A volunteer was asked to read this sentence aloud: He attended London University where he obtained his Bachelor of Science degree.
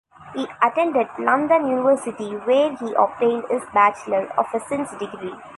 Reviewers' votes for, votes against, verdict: 0, 2, rejected